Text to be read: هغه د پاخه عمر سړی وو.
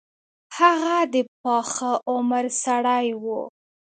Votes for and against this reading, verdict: 2, 0, accepted